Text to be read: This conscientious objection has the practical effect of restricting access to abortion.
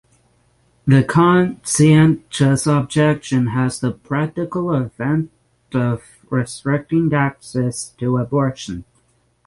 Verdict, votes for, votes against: rejected, 0, 6